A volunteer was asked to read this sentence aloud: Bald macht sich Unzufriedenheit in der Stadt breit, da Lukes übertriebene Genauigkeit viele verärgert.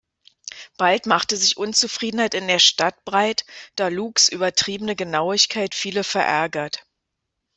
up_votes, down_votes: 0, 2